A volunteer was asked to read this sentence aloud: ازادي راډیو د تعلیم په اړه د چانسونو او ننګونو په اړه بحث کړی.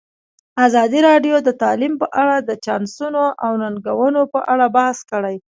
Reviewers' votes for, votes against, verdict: 2, 0, accepted